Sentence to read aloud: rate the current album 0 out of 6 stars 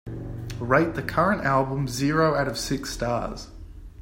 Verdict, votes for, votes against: rejected, 0, 2